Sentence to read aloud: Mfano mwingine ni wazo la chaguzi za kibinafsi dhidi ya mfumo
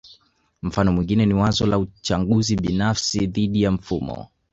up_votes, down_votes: 2, 3